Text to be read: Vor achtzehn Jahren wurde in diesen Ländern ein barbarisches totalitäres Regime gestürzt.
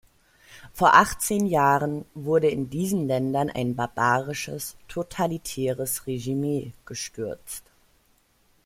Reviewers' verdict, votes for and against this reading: rejected, 0, 2